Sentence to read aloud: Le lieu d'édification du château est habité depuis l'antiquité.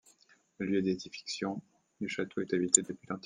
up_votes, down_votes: 1, 2